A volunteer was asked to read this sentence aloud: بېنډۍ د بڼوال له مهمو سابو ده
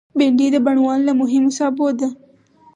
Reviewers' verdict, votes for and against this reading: accepted, 4, 0